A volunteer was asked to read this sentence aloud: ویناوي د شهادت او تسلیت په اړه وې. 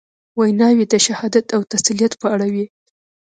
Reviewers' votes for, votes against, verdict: 2, 0, accepted